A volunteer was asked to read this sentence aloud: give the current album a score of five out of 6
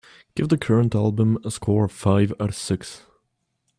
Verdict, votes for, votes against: rejected, 0, 2